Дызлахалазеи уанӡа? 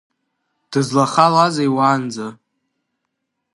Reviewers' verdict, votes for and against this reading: accepted, 2, 0